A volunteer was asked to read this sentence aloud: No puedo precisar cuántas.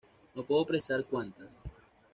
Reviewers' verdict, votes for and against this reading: rejected, 1, 2